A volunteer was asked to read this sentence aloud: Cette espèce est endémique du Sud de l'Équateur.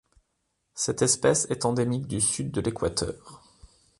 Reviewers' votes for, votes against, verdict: 2, 0, accepted